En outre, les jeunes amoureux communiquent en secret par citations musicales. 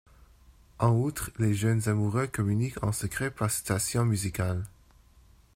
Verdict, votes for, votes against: rejected, 1, 2